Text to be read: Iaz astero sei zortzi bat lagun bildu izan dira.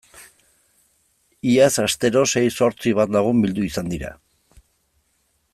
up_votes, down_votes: 2, 0